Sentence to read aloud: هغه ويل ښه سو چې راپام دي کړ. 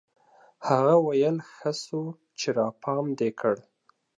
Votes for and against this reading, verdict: 2, 0, accepted